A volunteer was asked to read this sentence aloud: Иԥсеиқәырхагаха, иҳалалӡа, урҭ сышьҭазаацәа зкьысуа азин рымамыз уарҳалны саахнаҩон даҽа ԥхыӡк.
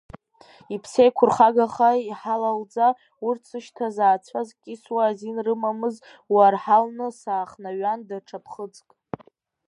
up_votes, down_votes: 0, 2